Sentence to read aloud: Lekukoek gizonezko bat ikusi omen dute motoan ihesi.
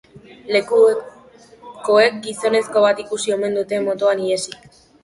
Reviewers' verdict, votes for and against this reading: rejected, 1, 2